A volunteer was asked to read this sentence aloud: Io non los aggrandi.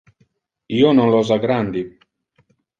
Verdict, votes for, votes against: accepted, 2, 0